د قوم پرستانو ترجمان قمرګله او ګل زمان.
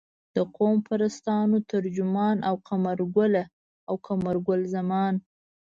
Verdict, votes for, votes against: rejected, 0, 2